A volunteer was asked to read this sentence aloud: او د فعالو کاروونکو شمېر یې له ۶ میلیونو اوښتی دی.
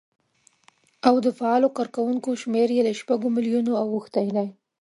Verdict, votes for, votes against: rejected, 0, 2